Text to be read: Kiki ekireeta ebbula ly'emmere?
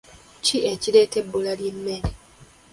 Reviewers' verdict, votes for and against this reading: accepted, 2, 0